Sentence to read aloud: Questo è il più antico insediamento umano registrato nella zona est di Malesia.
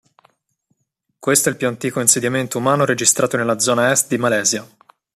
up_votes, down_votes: 2, 0